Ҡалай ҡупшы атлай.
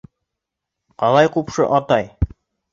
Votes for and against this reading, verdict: 0, 3, rejected